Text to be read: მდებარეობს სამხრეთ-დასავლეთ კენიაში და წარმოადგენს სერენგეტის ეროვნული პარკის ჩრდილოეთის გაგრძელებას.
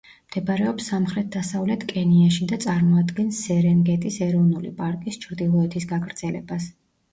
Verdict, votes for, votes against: accepted, 2, 0